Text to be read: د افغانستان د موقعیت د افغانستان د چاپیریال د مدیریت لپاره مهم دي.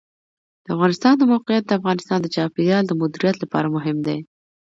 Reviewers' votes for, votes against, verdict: 2, 0, accepted